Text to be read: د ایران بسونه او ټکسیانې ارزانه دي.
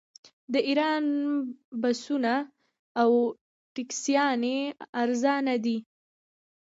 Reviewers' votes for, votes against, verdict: 1, 3, rejected